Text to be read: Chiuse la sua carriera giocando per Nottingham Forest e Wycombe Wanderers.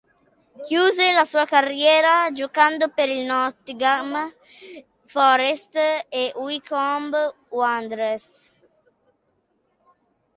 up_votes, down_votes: 2, 1